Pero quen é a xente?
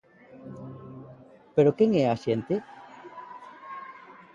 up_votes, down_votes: 8, 1